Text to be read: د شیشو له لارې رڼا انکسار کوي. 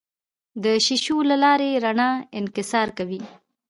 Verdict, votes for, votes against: accepted, 2, 0